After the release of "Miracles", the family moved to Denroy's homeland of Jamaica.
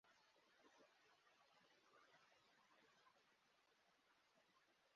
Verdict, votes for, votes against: rejected, 0, 3